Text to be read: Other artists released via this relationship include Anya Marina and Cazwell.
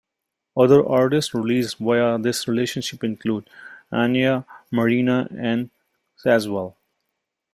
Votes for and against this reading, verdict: 2, 0, accepted